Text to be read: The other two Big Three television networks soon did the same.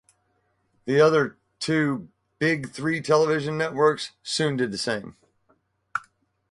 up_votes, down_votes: 2, 0